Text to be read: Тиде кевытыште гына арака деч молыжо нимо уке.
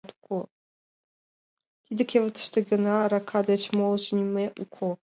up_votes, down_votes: 0, 2